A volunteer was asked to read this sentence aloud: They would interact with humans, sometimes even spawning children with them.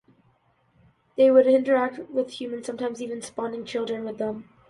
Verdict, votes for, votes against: accepted, 2, 0